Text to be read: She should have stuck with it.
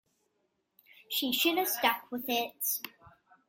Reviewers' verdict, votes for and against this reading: accepted, 2, 0